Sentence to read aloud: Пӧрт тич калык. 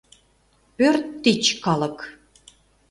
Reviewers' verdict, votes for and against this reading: accepted, 2, 0